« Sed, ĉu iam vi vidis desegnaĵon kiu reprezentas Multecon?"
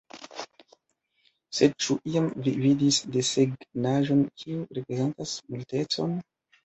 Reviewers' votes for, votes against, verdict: 0, 2, rejected